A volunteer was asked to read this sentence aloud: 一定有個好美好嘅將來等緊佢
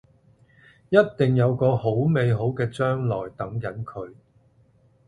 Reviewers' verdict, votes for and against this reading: accepted, 2, 0